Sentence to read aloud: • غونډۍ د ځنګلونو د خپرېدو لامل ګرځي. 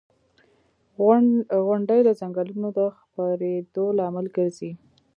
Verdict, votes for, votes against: rejected, 1, 2